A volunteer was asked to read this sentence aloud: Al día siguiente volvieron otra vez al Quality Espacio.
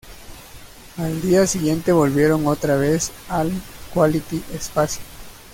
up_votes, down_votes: 2, 1